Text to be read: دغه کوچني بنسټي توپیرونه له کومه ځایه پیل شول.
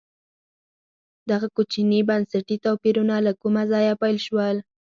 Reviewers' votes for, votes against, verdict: 2, 4, rejected